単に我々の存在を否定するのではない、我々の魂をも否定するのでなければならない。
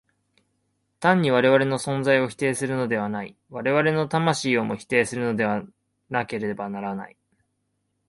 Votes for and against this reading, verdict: 3, 0, accepted